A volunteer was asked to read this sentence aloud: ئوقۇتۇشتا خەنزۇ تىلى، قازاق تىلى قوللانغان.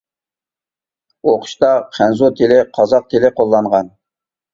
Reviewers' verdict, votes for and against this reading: rejected, 1, 2